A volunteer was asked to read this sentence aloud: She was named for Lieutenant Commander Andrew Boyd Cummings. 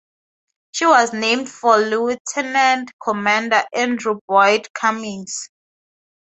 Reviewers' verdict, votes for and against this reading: accepted, 2, 0